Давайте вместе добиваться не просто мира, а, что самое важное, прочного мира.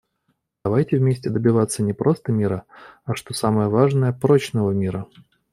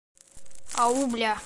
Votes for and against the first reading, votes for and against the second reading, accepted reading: 2, 0, 0, 2, first